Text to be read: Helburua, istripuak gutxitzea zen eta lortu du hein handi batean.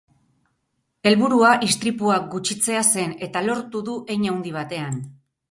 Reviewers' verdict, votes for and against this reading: accepted, 4, 0